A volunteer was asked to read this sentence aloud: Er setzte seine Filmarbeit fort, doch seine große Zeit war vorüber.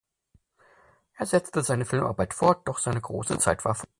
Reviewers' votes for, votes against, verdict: 0, 4, rejected